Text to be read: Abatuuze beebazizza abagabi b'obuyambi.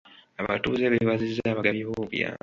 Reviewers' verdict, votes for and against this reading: accepted, 2, 0